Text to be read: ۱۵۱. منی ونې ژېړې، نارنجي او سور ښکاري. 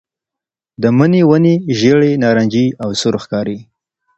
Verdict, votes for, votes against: rejected, 0, 2